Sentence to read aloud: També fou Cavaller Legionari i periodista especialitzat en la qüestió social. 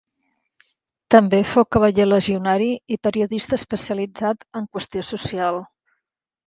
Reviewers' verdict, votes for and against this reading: accepted, 2, 0